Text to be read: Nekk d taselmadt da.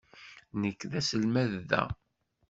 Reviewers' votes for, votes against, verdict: 1, 2, rejected